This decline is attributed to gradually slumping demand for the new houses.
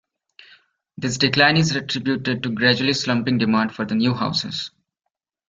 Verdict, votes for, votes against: accepted, 2, 0